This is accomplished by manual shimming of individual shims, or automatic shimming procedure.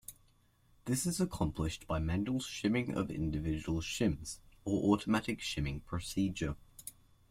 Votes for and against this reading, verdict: 2, 0, accepted